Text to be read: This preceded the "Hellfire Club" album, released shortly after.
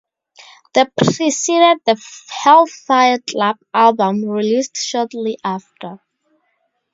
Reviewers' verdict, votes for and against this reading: rejected, 2, 2